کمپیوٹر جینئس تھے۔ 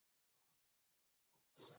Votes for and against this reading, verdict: 0, 2, rejected